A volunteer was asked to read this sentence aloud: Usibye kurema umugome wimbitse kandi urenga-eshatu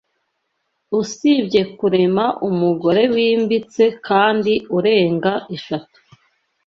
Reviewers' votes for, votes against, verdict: 1, 2, rejected